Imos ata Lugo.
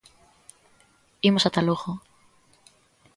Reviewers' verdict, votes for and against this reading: accepted, 2, 0